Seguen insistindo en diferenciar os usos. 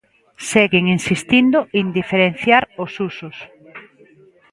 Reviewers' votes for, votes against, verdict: 2, 0, accepted